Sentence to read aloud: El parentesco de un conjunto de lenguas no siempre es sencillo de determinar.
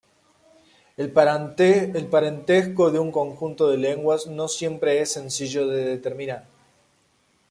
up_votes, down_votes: 2, 1